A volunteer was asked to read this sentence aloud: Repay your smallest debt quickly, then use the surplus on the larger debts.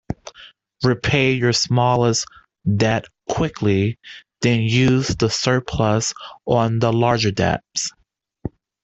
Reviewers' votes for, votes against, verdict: 1, 2, rejected